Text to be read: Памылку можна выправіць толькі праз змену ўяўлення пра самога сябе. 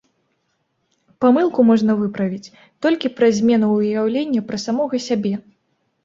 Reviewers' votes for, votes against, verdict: 2, 0, accepted